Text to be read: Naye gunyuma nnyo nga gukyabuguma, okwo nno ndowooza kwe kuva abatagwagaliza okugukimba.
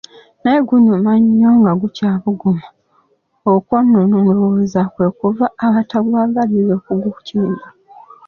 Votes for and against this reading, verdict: 1, 2, rejected